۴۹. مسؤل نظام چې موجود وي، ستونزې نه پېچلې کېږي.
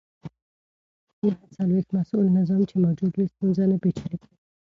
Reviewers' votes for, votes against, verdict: 0, 2, rejected